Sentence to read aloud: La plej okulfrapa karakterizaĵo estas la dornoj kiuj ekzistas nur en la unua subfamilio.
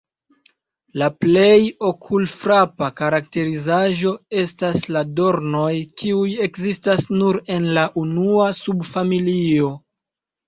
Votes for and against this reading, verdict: 2, 0, accepted